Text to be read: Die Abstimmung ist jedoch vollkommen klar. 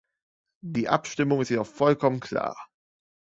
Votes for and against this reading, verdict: 2, 0, accepted